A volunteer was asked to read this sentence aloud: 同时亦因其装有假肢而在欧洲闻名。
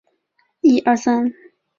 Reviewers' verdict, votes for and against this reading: rejected, 0, 2